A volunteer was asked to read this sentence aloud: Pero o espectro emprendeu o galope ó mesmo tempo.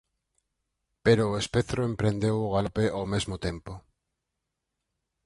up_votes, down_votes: 2, 4